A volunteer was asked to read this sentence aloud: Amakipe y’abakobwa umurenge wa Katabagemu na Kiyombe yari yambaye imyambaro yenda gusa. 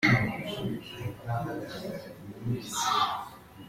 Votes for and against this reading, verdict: 0, 2, rejected